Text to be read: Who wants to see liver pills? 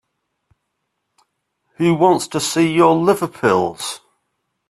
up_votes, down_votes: 1, 2